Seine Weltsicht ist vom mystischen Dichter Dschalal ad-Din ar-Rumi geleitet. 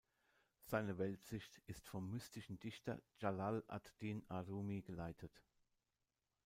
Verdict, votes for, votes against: rejected, 1, 2